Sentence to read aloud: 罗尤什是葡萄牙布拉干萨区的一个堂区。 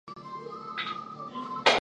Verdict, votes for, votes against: rejected, 0, 3